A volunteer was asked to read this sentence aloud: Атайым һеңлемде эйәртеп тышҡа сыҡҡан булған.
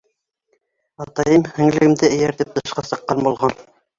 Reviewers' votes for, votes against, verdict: 1, 2, rejected